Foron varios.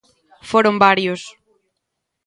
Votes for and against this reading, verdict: 2, 0, accepted